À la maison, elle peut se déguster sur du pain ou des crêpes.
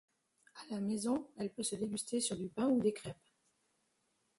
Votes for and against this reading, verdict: 0, 2, rejected